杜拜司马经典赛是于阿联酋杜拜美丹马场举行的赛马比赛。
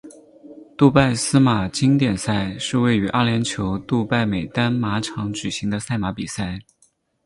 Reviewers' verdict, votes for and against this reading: accepted, 6, 0